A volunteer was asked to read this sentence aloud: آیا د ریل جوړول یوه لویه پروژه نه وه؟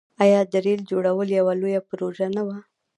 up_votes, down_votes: 2, 0